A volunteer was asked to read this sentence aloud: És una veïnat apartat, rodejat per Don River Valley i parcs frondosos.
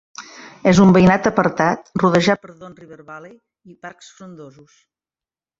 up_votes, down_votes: 1, 2